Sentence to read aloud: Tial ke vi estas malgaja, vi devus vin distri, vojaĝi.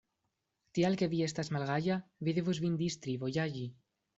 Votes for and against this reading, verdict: 0, 2, rejected